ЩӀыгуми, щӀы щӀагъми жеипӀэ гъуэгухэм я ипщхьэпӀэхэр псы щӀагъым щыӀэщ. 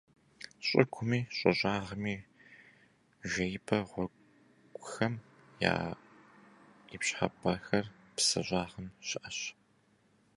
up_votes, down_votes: 0, 2